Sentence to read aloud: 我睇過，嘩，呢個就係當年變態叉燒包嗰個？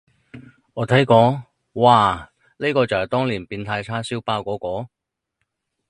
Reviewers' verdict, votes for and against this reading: rejected, 2, 2